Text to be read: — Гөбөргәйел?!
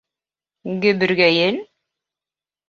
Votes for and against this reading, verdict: 2, 0, accepted